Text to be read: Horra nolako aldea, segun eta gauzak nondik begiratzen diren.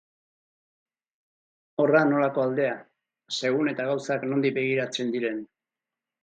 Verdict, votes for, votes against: rejected, 2, 2